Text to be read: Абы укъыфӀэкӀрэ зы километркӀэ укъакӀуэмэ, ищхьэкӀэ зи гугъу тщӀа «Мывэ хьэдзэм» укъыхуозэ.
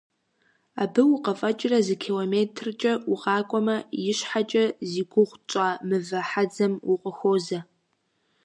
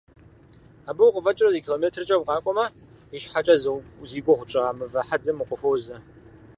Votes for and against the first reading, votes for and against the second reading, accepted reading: 2, 0, 0, 4, first